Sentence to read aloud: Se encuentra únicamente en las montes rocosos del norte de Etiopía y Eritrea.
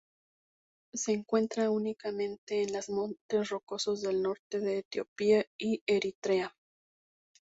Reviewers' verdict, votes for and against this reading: accepted, 4, 0